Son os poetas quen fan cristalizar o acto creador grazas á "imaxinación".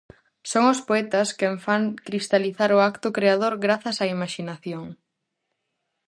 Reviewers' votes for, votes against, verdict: 0, 2, rejected